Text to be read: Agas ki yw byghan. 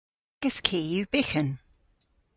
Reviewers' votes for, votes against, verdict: 1, 2, rejected